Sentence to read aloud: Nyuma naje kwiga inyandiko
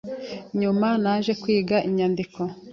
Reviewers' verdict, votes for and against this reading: accepted, 2, 0